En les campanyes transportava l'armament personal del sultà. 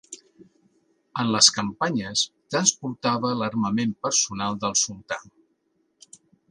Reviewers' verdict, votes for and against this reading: accepted, 2, 0